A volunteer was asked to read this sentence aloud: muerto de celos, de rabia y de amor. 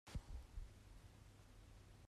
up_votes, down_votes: 1, 2